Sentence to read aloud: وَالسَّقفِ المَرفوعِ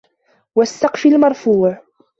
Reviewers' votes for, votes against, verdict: 2, 0, accepted